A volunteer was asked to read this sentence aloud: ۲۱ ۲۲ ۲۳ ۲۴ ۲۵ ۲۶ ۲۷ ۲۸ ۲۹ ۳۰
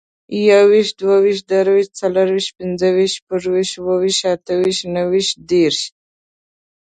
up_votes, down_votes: 0, 2